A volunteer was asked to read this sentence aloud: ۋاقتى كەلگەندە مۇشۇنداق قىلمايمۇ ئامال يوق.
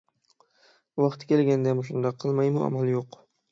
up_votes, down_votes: 6, 0